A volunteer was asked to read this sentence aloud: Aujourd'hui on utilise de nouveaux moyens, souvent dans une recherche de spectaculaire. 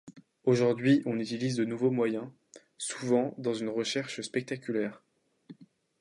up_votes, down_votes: 1, 2